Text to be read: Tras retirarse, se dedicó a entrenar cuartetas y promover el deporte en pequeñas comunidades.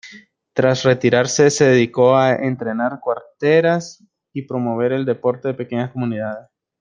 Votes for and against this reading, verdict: 0, 2, rejected